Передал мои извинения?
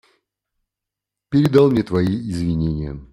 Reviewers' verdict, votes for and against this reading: rejected, 0, 2